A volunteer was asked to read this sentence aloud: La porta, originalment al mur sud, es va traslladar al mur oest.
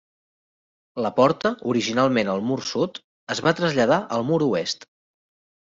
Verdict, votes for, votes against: accepted, 3, 0